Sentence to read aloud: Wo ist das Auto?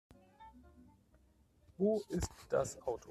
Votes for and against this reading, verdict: 0, 2, rejected